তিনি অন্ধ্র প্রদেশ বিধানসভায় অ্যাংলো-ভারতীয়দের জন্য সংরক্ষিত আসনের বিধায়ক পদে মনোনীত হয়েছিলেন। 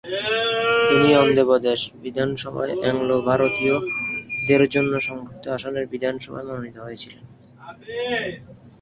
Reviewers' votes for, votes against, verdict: 0, 3, rejected